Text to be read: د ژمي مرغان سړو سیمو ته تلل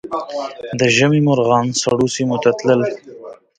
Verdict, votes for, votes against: rejected, 0, 2